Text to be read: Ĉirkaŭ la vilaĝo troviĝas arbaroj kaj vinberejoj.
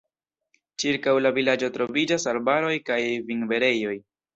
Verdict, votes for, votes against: accepted, 2, 0